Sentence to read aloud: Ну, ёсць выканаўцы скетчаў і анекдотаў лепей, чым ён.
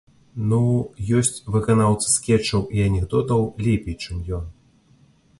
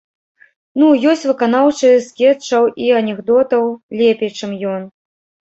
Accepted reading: first